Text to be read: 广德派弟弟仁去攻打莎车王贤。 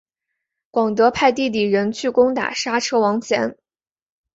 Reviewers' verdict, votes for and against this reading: accepted, 4, 0